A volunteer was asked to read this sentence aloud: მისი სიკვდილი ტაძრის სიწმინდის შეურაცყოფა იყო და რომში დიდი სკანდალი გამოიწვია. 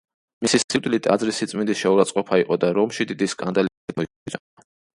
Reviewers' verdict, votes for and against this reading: rejected, 0, 2